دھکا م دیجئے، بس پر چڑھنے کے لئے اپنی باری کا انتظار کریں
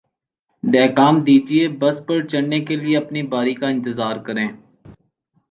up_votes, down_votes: 2, 0